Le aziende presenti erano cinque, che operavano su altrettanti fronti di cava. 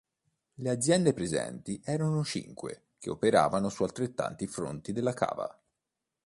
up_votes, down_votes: 0, 2